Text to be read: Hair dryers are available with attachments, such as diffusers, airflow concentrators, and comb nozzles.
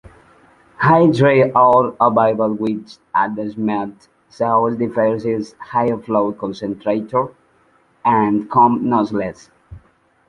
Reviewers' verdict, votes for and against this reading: rejected, 1, 2